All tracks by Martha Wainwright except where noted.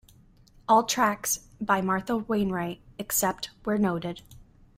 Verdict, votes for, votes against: accepted, 2, 1